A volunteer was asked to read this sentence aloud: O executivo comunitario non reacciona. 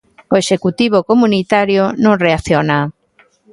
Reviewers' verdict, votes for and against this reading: accepted, 2, 0